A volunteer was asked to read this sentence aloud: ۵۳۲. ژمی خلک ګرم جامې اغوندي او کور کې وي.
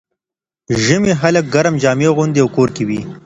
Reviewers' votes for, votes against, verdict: 0, 2, rejected